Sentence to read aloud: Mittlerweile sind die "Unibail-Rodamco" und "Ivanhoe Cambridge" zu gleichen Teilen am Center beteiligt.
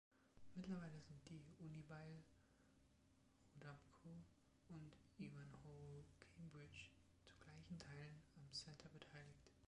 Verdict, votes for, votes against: rejected, 1, 2